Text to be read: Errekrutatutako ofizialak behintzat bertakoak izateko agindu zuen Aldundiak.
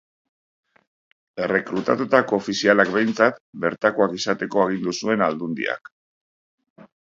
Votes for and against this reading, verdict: 2, 0, accepted